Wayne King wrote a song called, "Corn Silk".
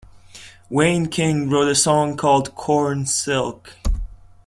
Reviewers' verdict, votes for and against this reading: accepted, 2, 1